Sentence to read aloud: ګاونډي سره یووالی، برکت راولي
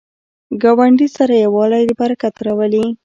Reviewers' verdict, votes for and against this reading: accepted, 2, 0